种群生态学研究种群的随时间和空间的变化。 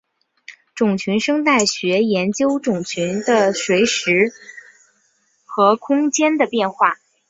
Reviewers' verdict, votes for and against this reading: accepted, 6, 0